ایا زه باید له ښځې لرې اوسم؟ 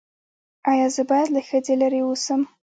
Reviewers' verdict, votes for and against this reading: accepted, 2, 0